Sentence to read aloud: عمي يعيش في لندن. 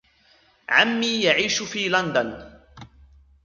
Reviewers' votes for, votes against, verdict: 2, 1, accepted